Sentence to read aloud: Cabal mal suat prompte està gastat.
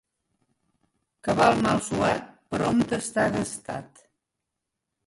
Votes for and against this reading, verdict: 2, 1, accepted